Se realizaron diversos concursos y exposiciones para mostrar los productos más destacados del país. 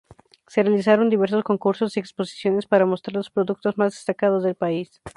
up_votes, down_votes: 2, 0